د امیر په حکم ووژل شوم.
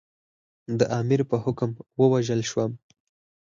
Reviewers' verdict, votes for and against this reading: accepted, 4, 0